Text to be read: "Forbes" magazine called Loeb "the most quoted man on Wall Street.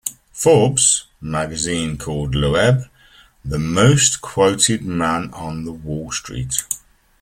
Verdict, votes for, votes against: rejected, 1, 2